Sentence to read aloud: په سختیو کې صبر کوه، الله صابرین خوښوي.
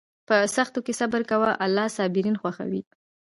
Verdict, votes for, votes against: rejected, 1, 2